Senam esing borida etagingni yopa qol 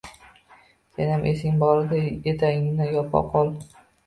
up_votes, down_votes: 1, 2